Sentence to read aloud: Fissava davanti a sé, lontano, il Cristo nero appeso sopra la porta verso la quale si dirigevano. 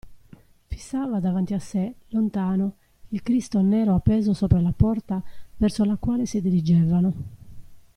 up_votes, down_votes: 2, 0